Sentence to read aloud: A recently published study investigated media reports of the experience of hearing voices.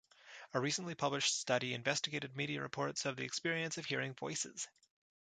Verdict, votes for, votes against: accepted, 2, 0